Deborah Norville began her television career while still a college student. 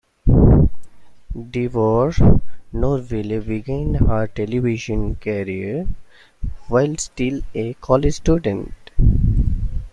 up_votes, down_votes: 0, 2